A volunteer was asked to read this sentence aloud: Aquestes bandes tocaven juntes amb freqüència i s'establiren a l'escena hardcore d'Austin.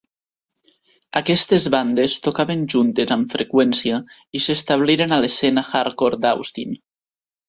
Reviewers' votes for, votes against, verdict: 2, 0, accepted